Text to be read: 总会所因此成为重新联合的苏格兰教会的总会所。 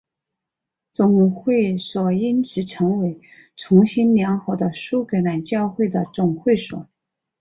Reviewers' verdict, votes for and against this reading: accepted, 4, 1